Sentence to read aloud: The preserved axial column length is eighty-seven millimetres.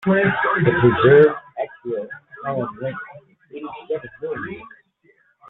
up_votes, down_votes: 1, 2